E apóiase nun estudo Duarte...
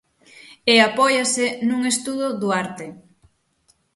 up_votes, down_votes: 6, 0